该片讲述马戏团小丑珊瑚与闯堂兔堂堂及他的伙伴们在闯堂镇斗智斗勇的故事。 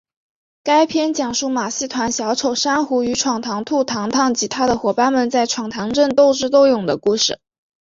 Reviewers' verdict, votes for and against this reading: accepted, 2, 0